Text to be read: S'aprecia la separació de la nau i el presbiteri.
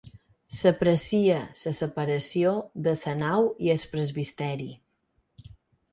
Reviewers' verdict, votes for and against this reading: rejected, 2, 4